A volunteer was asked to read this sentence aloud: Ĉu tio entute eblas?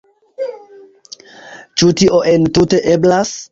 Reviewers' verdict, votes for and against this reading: accepted, 2, 1